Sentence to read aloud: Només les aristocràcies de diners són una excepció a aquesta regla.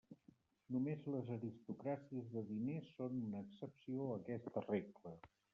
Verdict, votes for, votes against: rejected, 0, 2